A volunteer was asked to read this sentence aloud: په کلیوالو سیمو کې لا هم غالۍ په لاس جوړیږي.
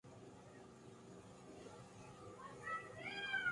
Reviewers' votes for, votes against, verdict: 2, 4, rejected